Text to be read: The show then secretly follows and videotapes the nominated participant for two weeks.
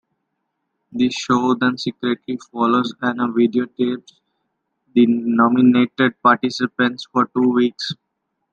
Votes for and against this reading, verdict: 0, 2, rejected